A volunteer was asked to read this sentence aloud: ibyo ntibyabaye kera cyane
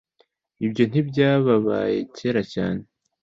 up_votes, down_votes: 1, 2